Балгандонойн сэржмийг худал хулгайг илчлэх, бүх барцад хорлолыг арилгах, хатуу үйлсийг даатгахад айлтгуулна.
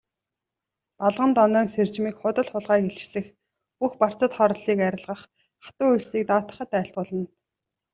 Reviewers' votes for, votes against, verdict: 2, 0, accepted